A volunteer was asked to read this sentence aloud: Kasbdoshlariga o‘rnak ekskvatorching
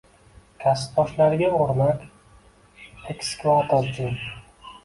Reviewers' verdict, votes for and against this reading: rejected, 0, 2